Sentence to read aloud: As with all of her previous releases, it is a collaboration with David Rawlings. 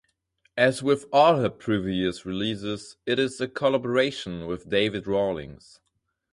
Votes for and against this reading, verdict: 0, 4, rejected